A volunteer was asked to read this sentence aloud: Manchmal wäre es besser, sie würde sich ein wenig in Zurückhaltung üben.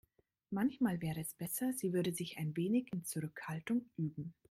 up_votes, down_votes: 2, 0